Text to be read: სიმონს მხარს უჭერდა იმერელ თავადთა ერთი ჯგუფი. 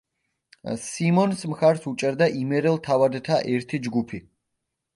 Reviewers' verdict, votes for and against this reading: accepted, 2, 0